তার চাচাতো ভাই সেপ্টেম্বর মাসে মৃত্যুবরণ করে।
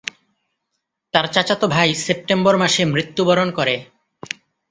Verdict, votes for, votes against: accepted, 2, 0